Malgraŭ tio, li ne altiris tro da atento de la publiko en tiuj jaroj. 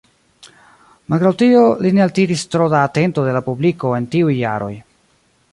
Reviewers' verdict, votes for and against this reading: accepted, 2, 1